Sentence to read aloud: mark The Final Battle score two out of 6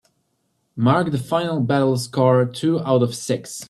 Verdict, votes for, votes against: rejected, 0, 2